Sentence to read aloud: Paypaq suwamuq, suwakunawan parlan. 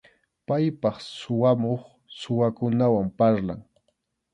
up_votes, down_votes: 2, 0